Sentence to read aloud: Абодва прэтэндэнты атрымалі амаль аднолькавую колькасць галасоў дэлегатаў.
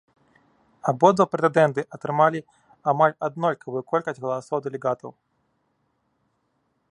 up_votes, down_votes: 0, 2